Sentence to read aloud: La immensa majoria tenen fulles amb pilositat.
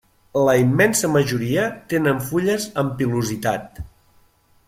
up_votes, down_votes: 3, 0